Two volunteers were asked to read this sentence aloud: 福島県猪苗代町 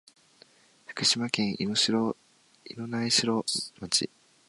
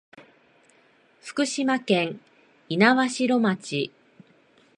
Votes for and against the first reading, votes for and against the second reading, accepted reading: 2, 3, 2, 0, second